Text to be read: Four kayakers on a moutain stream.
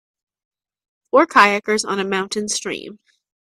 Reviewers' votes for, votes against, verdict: 2, 0, accepted